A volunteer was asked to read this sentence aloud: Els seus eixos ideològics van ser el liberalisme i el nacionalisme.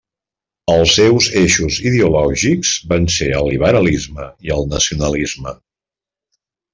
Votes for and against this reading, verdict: 2, 0, accepted